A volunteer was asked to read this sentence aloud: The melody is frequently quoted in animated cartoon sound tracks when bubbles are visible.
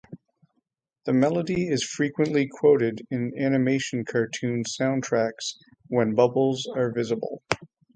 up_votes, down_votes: 0, 6